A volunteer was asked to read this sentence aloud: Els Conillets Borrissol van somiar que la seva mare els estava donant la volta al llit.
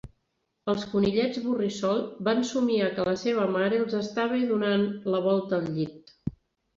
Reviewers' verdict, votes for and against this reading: accepted, 3, 0